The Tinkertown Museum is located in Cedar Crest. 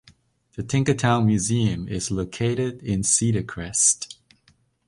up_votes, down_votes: 2, 0